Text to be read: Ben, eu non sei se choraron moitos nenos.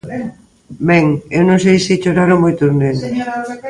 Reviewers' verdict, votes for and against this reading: rejected, 1, 2